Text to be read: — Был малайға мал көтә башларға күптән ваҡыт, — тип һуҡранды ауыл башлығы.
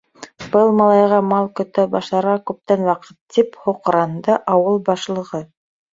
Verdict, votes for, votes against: accepted, 2, 1